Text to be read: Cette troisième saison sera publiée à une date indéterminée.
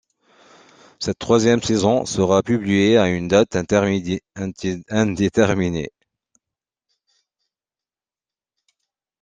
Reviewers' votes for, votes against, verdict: 0, 2, rejected